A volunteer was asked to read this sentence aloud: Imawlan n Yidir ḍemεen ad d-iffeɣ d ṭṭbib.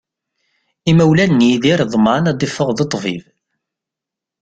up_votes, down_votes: 2, 0